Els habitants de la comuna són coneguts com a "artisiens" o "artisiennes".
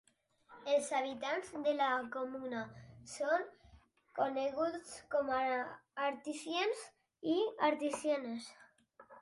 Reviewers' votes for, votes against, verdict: 2, 4, rejected